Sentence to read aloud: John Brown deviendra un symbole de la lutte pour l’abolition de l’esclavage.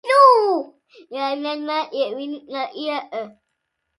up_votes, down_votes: 0, 2